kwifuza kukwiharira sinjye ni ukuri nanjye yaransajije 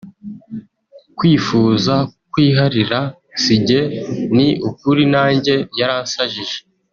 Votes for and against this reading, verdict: 0, 2, rejected